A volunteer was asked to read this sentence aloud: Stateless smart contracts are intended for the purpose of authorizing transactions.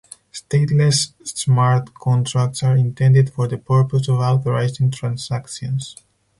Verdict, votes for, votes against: accepted, 4, 0